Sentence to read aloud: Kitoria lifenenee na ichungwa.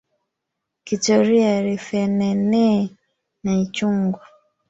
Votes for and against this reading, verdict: 0, 3, rejected